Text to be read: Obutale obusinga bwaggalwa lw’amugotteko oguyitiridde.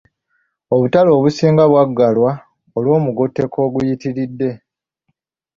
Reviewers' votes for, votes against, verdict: 1, 2, rejected